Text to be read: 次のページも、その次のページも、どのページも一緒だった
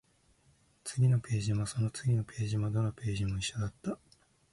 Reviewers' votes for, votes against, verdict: 2, 0, accepted